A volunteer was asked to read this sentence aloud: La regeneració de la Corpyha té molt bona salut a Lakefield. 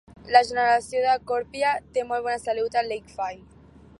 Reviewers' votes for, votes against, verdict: 0, 2, rejected